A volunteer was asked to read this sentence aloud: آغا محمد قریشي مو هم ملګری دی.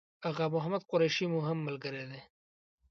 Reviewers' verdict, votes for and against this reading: accepted, 2, 0